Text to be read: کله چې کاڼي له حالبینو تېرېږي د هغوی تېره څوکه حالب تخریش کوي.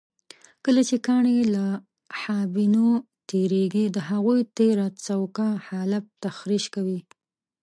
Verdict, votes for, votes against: rejected, 1, 2